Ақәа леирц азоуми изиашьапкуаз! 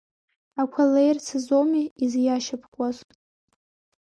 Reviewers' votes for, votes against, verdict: 3, 0, accepted